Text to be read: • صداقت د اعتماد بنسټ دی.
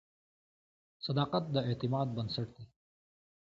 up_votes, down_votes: 2, 1